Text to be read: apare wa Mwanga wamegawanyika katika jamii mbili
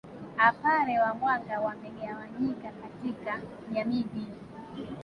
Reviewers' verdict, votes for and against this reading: accepted, 2, 1